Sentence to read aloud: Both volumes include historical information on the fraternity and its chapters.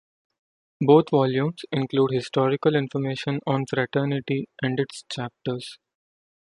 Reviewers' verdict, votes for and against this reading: rejected, 1, 2